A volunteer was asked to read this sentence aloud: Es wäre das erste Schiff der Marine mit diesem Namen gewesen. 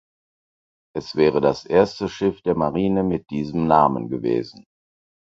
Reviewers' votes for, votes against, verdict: 4, 0, accepted